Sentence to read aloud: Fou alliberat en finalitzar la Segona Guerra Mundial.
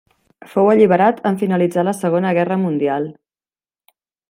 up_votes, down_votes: 3, 0